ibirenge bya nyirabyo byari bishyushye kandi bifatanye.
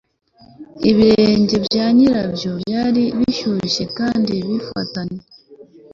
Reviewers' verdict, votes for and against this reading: accepted, 2, 0